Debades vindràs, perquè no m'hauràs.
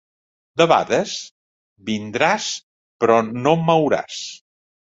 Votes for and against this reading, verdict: 0, 2, rejected